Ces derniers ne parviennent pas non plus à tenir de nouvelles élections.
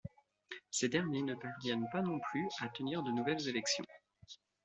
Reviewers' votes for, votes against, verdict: 1, 2, rejected